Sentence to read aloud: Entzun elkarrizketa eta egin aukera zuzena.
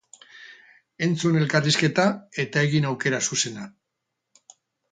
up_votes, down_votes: 4, 0